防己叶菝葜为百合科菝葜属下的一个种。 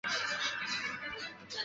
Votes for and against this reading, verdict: 1, 2, rejected